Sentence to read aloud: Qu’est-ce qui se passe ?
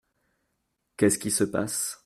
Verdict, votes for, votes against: accepted, 2, 0